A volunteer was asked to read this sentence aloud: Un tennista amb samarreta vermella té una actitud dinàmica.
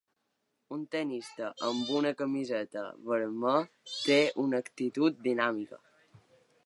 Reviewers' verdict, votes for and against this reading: rejected, 1, 2